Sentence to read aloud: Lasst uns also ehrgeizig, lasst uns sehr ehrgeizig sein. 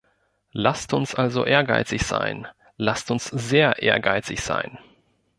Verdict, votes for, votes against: rejected, 0, 2